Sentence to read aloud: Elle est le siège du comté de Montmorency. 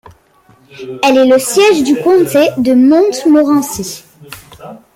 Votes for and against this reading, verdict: 1, 2, rejected